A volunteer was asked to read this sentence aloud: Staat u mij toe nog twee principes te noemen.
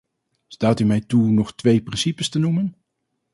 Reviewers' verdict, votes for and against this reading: accepted, 4, 0